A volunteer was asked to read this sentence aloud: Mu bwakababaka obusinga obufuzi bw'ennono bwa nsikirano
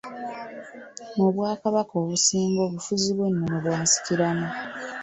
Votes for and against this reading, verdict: 2, 0, accepted